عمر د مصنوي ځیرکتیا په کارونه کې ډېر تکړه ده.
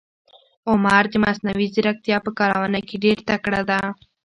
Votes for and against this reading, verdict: 2, 0, accepted